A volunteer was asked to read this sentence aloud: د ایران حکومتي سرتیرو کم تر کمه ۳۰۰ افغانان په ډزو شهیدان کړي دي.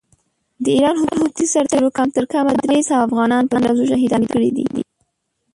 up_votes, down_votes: 0, 2